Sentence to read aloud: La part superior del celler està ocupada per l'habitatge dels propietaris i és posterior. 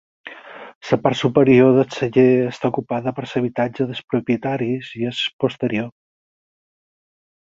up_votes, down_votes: 2, 4